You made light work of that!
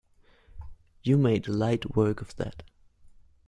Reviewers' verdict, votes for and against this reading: accepted, 2, 0